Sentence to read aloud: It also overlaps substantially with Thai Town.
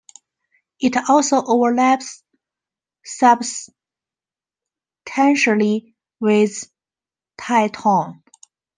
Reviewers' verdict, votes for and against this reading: rejected, 1, 2